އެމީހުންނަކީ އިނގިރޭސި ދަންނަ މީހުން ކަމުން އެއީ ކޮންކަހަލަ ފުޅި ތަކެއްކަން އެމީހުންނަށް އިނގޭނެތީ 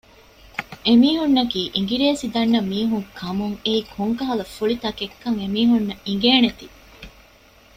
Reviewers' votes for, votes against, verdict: 1, 2, rejected